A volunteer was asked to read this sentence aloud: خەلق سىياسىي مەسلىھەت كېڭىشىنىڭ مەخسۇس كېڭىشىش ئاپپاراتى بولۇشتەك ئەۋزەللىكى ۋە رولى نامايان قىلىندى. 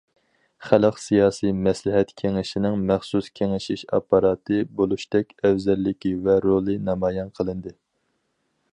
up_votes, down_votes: 4, 0